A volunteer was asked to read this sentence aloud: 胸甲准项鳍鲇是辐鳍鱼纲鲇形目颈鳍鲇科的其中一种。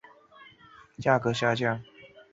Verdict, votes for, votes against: rejected, 1, 4